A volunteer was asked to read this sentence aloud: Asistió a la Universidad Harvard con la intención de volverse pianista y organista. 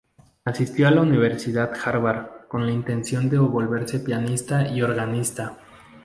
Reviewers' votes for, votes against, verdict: 6, 0, accepted